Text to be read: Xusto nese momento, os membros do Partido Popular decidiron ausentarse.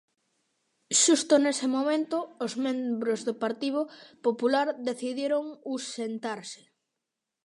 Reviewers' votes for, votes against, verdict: 0, 2, rejected